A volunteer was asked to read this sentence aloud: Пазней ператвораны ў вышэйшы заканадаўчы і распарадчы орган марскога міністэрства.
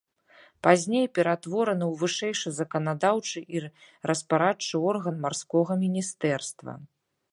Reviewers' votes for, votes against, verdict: 3, 1, accepted